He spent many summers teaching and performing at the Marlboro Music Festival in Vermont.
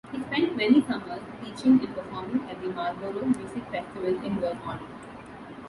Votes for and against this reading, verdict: 0, 2, rejected